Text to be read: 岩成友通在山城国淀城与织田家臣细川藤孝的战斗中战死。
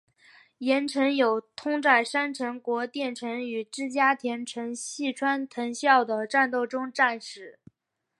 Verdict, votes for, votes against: accepted, 3, 2